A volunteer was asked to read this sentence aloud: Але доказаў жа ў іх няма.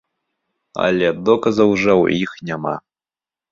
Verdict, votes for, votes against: accepted, 4, 0